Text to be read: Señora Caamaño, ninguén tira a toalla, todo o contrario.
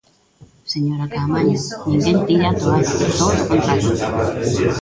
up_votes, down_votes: 1, 2